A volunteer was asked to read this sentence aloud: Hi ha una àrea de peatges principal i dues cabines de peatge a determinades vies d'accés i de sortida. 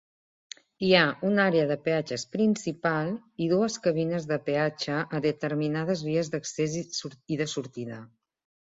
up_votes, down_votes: 2, 1